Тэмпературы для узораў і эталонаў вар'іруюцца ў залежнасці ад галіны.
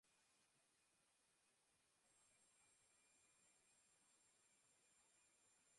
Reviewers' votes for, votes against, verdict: 0, 2, rejected